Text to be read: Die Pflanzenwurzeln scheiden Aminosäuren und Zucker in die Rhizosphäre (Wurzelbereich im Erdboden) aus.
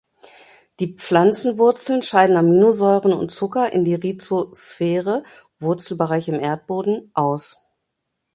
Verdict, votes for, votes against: rejected, 1, 2